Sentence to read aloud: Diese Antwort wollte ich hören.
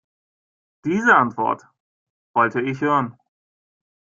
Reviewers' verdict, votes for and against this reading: accepted, 2, 0